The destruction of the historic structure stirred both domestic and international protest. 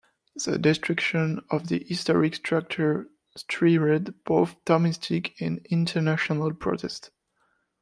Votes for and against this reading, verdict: 0, 2, rejected